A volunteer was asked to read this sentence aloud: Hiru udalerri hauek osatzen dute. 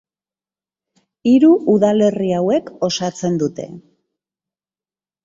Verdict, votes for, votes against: accepted, 2, 0